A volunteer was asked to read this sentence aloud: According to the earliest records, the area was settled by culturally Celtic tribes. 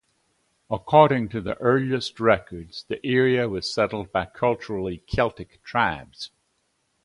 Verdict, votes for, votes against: accepted, 2, 0